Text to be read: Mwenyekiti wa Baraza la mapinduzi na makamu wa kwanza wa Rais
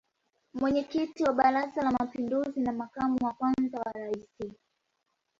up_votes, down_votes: 1, 2